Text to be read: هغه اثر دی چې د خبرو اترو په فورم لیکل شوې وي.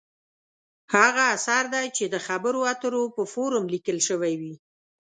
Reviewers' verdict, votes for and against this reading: accepted, 2, 0